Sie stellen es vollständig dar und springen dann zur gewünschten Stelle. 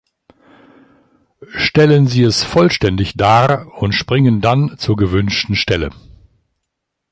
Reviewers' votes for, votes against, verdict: 0, 2, rejected